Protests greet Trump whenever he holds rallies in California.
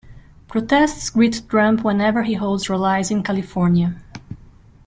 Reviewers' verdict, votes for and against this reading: rejected, 1, 2